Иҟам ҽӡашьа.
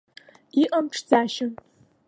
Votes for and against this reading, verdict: 2, 0, accepted